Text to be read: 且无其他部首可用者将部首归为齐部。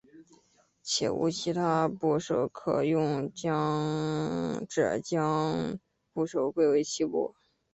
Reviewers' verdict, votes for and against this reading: rejected, 0, 3